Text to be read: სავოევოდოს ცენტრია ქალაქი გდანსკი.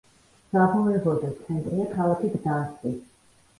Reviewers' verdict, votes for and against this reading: rejected, 1, 2